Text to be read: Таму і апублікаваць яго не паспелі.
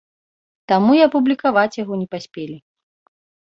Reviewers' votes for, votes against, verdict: 2, 0, accepted